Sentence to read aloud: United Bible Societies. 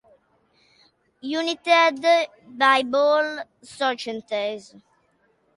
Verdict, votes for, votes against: rejected, 0, 2